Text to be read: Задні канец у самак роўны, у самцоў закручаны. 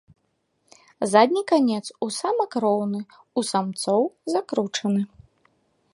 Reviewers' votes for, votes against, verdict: 2, 0, accepted